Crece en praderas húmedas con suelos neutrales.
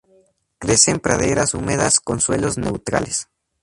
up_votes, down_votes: 2, 0